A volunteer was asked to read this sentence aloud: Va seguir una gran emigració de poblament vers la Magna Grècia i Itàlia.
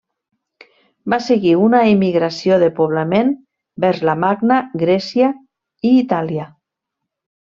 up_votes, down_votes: 0, 2